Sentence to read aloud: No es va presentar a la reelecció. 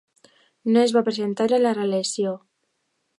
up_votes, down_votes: 2, 1